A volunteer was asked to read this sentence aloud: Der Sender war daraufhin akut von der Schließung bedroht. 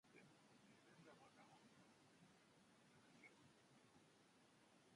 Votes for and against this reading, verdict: 0, 2, rejected